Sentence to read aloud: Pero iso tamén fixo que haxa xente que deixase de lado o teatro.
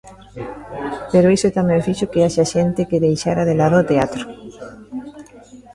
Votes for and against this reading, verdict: 1, 2, rejected